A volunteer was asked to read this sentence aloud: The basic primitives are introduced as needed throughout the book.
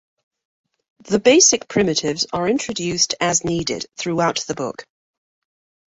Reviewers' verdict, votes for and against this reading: accepted, 2, 0